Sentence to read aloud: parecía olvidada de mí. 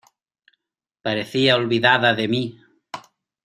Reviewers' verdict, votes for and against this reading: accepted, 2, 0